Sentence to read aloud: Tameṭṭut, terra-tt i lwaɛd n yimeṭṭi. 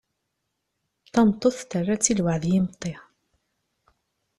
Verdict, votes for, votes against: accepted, 2, 0